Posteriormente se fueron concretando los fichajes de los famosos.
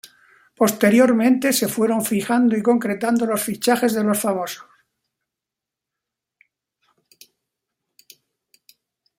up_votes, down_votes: 0, 2